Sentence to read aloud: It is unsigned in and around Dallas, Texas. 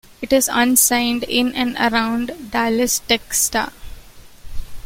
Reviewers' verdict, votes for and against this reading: rejected, 0, 2